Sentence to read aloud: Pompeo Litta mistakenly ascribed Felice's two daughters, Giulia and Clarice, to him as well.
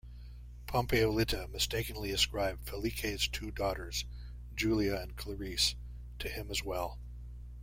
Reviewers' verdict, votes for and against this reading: rejected, 0, 2